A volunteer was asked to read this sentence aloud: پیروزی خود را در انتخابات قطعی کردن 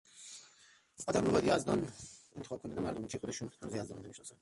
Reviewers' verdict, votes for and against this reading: rejected, 0, 2